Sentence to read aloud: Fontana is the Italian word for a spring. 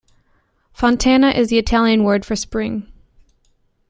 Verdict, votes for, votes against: rejected, 0, 2